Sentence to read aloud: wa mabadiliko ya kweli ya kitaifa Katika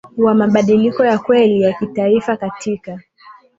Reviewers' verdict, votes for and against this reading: accepted, 7, 0